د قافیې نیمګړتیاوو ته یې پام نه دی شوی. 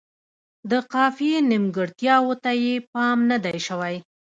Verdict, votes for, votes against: accepted, 2, 0